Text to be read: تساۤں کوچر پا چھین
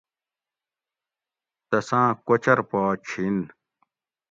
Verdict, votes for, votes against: accepted, 2, 0